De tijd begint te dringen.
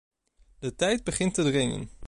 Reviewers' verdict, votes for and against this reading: accepted, 2, 0